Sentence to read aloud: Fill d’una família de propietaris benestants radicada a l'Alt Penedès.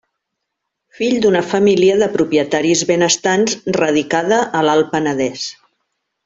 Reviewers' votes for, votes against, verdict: 2, 0, accepted